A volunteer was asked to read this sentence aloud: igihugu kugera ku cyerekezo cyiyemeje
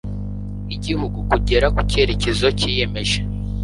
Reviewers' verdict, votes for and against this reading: accepted, 2, 0